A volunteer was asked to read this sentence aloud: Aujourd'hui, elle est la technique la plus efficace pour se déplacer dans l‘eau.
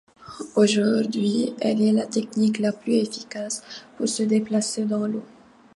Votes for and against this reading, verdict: 2, 0, accepted